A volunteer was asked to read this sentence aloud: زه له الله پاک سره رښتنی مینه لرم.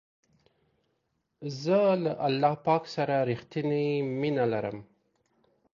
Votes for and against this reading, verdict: 2, 0, accepted